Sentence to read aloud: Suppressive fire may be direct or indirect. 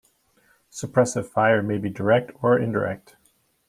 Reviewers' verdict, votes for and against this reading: accepted, 2, 0